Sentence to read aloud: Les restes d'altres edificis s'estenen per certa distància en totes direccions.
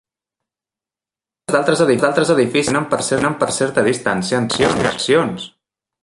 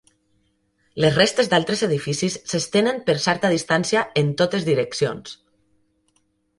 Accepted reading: second